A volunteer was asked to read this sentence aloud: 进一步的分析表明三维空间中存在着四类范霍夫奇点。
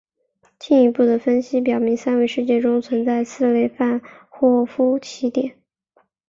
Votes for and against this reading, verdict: 3, 0, accepted